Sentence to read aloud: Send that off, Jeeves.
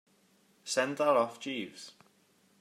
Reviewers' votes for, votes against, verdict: 2, 0, accepted